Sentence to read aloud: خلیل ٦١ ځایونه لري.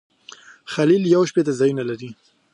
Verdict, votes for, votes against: rejected, 0, 2